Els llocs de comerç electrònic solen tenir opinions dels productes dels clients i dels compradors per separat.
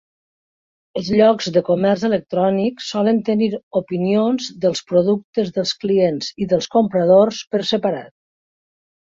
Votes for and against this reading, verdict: 3, 0, accepted